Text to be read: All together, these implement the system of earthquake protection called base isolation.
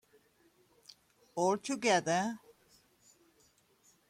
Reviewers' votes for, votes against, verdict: 1, 2, rejected